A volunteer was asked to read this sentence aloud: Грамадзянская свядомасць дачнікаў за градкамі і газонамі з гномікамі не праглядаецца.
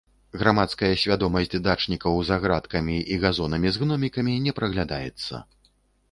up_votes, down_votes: 1, 2